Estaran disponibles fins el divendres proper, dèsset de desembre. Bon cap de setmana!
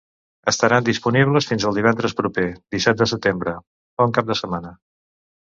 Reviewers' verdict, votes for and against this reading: rejected, 1, 2